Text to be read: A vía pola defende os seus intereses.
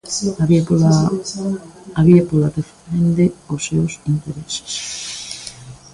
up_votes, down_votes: 0, 2